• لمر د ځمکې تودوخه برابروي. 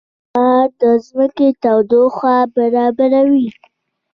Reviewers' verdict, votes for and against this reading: accepted, 2, 1